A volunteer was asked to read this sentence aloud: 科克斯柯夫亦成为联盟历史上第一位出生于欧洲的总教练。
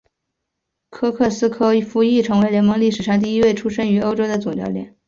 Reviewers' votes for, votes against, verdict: 2, 1, accepted